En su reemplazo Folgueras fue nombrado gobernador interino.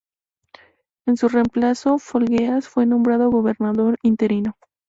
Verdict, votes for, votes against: accepted, 2, 0